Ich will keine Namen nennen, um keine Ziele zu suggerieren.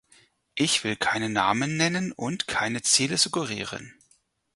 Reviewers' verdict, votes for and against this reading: rejected, 0, 4